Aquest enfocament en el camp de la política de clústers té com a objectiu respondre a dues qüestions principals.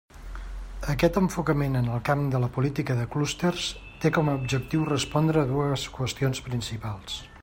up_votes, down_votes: 3, 0